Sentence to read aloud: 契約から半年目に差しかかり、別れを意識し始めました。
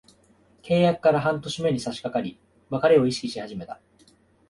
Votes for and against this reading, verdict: 2, 1, accepted